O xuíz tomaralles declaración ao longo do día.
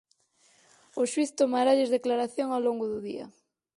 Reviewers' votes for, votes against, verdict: 4, 0, accepted